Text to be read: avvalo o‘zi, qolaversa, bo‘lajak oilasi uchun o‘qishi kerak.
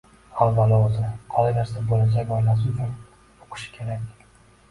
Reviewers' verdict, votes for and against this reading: rejected, 0, 2